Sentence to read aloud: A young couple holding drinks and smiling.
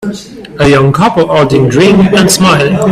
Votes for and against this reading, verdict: 1, 2, rejected